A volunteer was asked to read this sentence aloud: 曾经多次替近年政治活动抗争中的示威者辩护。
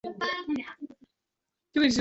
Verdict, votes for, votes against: rejected, 0, 2